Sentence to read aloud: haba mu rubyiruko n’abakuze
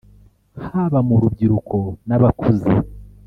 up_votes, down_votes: 1, 2